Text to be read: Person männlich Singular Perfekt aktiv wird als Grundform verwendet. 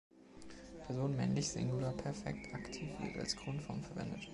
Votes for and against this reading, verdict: 2, 0, accepted